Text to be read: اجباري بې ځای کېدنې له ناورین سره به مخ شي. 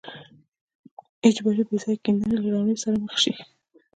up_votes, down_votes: 1, 2